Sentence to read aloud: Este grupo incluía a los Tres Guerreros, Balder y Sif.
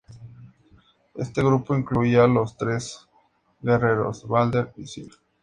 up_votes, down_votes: 2, 0